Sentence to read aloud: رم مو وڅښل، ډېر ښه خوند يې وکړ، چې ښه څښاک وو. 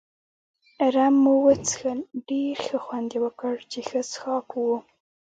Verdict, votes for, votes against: rejected, 1, 2